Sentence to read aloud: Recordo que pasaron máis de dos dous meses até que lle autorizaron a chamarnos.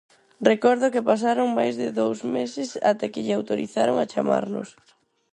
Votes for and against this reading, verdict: 0, 2, rejected